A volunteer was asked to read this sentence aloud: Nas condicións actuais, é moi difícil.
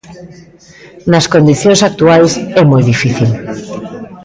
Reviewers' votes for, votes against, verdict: 1, 2, rejected